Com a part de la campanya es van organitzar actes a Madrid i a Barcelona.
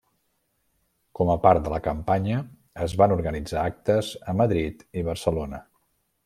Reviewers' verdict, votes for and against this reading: rejected, 1, 2